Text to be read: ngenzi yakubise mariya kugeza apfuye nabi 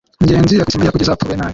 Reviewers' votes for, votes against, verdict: 0, 2, rejected